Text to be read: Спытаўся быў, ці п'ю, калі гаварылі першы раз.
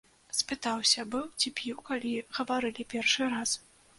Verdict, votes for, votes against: accepted, 2, 0